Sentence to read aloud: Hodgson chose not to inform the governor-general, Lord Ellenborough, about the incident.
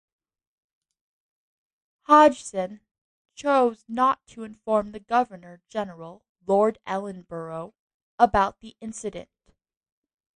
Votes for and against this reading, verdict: 2, 0, accepted